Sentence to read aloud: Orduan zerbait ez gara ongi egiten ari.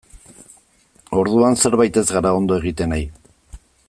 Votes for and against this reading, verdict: 1, 2, rejected